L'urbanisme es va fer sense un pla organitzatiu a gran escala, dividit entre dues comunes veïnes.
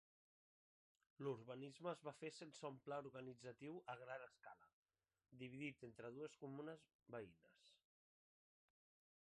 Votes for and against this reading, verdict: 3, 1, accepted